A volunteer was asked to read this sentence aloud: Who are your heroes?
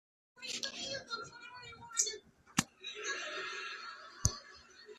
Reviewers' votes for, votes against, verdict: 0, 2, rejected